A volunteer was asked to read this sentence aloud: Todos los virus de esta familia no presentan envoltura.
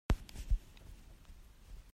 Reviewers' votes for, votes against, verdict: 0, 2, rejected